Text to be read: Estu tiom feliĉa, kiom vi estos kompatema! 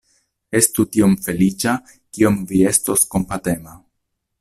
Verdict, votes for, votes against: accepted, 2, 0